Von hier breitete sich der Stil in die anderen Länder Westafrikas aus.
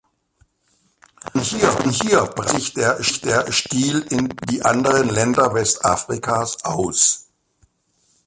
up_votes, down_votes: 0, 2